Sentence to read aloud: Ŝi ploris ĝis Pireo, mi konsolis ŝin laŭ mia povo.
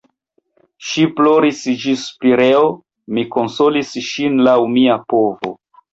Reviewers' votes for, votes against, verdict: 1, 2, rejected